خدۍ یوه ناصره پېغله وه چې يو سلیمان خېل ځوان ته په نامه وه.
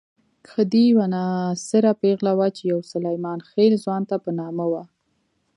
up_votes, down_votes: 1, 2